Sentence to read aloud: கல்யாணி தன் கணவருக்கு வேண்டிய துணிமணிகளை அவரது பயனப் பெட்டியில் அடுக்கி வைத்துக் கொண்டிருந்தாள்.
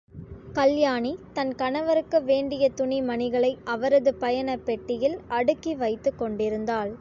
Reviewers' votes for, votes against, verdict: 2, 0, accepted